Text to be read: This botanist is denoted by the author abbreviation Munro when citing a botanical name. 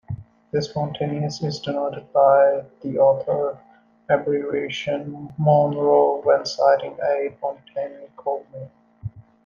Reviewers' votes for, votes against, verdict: 0, 2, rejected